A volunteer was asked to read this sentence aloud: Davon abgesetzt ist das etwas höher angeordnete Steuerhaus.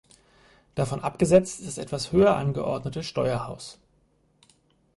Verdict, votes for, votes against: rejected, 0, 4